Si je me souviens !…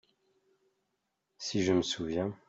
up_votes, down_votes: 2, 0